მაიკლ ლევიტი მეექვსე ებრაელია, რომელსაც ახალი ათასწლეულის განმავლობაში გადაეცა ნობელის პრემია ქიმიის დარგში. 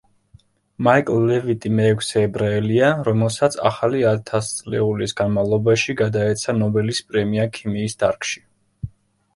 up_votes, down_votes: 2, 0